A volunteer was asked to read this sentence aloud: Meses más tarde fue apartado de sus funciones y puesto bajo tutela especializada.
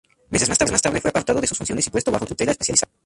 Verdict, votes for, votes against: rejected, 0, 2